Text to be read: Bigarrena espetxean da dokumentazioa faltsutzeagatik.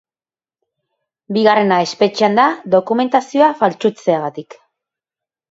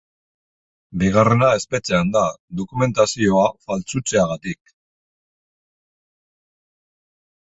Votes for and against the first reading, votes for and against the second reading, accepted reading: 2, 0, 3, 3, first